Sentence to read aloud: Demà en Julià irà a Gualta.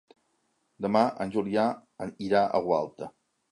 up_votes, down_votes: 1, 2